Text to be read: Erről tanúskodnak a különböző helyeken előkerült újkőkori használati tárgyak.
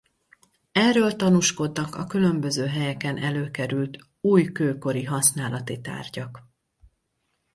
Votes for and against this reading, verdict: 2, 2, rejected